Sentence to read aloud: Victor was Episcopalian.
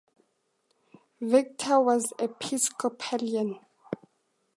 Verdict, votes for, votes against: accepted, 2, 0